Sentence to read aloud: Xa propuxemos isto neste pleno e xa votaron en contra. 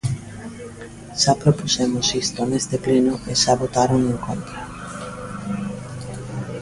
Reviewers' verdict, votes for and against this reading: accepted, 2, 0